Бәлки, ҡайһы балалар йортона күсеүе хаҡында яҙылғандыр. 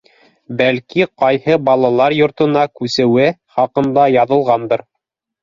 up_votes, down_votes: 2, 0